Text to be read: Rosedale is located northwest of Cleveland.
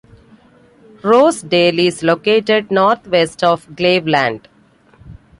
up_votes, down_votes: 1, 2